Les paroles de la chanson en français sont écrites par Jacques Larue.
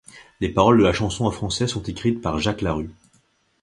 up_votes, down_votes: 2, 0